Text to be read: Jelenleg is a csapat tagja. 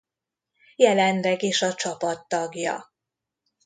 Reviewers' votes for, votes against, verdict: 2, 0, accepted